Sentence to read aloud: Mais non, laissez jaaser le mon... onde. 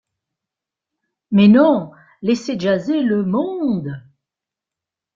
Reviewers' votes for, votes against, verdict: 1, 2, rejected